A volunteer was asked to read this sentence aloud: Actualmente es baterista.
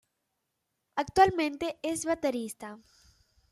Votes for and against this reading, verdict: 2, 0, accepted